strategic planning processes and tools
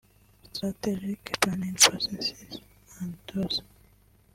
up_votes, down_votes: 0, 2